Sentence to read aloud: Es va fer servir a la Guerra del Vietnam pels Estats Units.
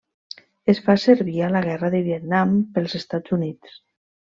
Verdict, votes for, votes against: rejected, 1, 2